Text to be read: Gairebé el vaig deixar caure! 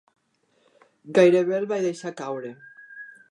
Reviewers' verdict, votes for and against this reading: accepted, 3, 1